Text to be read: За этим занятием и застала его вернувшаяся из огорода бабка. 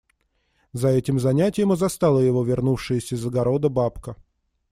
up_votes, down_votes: 2, 0